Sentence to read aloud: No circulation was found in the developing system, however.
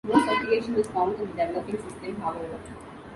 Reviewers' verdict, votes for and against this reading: rejected, 1, 2